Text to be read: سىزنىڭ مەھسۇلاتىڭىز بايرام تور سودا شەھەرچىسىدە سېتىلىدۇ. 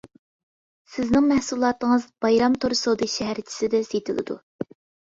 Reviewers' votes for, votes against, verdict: 2, 0, accepted